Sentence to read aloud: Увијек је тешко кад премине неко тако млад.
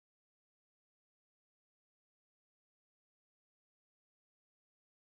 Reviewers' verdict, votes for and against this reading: rejected, 0, 2